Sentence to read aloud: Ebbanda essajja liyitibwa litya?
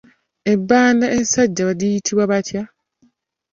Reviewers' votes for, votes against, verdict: 0, 2, rejected